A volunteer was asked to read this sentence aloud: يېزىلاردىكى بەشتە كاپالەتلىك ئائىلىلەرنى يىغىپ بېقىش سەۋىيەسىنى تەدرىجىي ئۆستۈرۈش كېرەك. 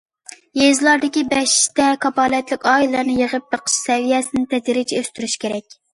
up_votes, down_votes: 2, 0